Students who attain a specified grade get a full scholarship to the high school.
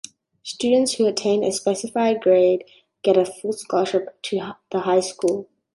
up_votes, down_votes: 0, 2